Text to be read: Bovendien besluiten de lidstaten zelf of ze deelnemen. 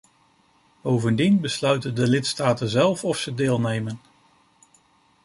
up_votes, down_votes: 2, 0